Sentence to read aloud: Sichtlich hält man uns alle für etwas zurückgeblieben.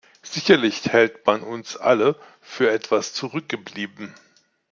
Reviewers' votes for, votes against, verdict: 0, 2, rejected